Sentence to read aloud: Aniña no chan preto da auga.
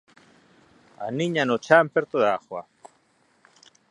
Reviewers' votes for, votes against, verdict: 0, 2, rejected